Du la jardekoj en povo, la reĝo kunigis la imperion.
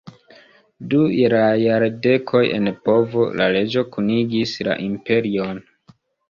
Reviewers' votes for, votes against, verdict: 2, 0, accepted